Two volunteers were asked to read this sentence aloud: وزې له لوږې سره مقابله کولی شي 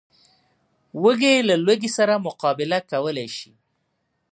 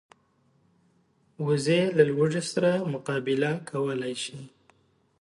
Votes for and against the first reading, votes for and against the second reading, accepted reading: 0, 2, 2, 0, second